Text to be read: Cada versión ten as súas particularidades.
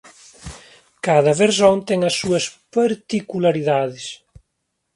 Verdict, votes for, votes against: rejected, 0, 2